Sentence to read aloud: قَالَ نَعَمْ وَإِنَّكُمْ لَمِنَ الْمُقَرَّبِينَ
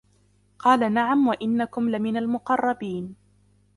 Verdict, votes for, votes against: accepted, 2, 1